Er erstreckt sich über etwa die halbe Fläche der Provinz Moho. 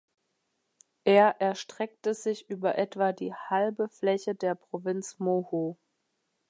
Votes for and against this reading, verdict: 0, 2, rejected